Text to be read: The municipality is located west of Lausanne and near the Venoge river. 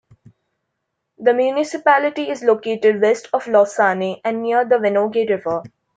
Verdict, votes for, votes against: rejected, 0, 2